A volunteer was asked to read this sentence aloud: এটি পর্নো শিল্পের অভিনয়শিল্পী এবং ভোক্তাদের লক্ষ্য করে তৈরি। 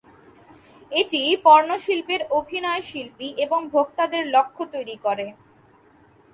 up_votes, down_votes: 0, 4